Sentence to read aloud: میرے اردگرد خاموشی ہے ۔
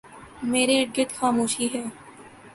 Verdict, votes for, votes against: accepted, 2, 0